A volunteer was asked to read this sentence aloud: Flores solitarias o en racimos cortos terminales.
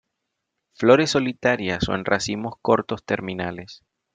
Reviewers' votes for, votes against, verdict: 2, 0, accepted